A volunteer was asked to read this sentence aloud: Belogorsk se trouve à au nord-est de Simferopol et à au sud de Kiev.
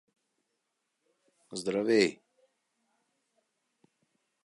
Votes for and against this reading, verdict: 0, 2, rejected